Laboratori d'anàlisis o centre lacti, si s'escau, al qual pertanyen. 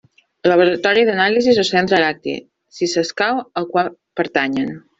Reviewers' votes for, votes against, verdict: 0, 2, rejected